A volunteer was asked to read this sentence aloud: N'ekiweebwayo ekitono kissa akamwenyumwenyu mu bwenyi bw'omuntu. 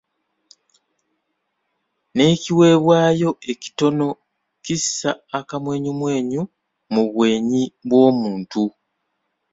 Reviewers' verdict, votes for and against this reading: accepted, 2, 0